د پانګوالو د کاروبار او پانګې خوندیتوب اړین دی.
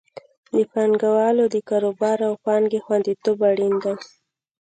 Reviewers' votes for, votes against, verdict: 2, 0, accepted